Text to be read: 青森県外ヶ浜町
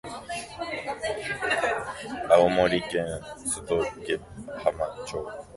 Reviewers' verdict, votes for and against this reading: rejected, 0, 2